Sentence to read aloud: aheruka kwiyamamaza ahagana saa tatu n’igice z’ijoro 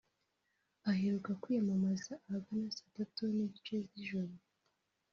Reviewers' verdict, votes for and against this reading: rejected, 1, 2